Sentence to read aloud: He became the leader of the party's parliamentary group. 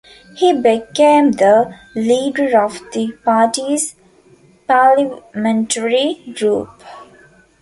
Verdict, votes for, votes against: accepted, 2, 0